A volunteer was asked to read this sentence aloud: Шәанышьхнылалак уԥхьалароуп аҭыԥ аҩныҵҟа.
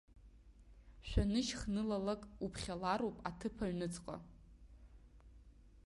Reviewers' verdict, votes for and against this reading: rejected, 0, 2